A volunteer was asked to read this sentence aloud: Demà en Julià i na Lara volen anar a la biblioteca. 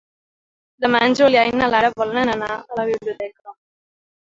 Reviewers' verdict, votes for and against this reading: accepted, 3, 0